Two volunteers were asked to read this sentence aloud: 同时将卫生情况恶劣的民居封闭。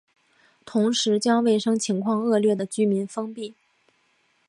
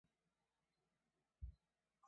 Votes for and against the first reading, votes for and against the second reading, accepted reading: 2, 0, 0, 2, first